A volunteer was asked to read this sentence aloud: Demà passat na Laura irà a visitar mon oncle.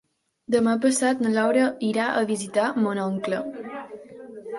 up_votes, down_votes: 3, 1